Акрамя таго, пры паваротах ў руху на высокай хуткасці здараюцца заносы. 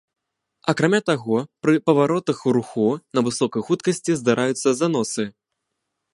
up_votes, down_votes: 0, 2